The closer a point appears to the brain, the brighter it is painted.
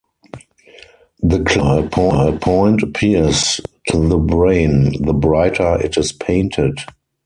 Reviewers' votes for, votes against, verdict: 2, 4, rejected